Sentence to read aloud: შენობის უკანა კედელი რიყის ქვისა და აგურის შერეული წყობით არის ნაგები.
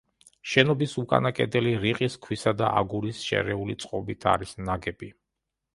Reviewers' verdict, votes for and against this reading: accepted, 2, 0